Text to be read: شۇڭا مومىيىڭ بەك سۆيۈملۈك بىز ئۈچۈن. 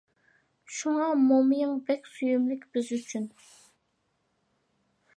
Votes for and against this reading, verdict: 2, 0, accepted